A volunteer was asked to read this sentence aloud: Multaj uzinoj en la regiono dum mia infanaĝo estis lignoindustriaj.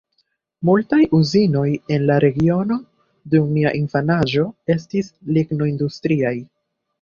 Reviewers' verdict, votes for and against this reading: accepted, 2, 1